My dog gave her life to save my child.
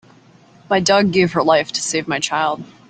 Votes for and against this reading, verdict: 3, 0, accepted